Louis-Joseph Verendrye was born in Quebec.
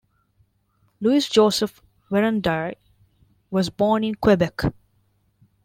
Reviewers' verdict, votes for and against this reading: accepted, 2, 0